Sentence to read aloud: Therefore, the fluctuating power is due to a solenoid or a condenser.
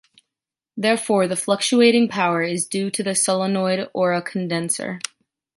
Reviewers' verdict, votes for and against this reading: accepted, 3, 0